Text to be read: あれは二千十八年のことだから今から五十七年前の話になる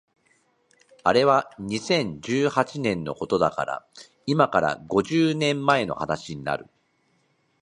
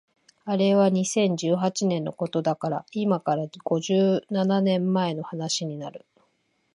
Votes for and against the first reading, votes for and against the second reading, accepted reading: 1, 2, 2, 0, second